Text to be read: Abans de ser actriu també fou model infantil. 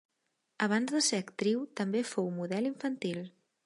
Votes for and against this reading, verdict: 3, 1, accepted